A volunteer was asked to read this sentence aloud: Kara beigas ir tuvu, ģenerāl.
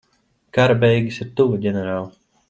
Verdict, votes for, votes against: accepted, 2, 0